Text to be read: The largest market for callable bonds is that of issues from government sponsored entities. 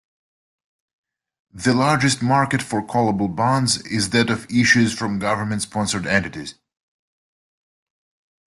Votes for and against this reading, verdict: 2, 0, accepted